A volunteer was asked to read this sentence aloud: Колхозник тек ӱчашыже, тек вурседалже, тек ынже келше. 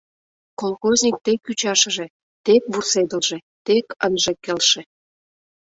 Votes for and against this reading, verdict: 0, 2, rejected